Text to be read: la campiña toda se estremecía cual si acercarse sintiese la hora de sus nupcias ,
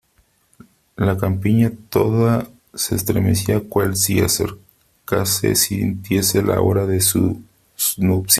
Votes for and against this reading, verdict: 1, 3, rejected